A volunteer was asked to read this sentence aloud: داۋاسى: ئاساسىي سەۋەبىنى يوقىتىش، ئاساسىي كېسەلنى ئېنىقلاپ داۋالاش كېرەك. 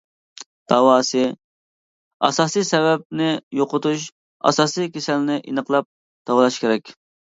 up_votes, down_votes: 2, 1